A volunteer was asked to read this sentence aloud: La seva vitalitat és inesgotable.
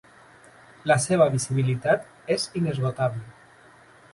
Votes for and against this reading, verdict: 1, 2, rejected